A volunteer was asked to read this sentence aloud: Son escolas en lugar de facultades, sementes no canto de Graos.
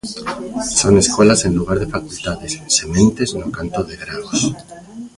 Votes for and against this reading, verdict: 1, 2, rejected